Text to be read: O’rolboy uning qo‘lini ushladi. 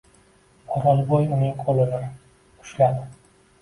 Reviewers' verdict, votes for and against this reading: accepted, 2, 1